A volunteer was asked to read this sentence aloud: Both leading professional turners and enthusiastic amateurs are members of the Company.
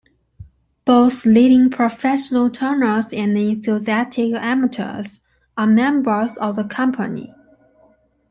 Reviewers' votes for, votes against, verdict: 2, 1, accepted